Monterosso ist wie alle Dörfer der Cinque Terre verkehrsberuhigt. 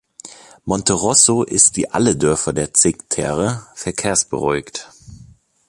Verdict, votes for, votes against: rejected, 0, 2